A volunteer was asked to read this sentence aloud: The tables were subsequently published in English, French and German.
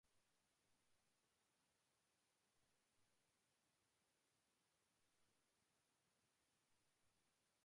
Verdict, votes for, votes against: rejected, 0, 2